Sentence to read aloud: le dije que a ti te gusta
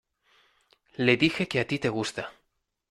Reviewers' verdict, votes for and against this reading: accepted, 2, 0